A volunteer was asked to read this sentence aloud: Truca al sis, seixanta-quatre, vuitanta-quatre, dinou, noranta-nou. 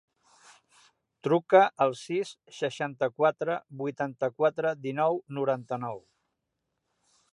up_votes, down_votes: 2, 0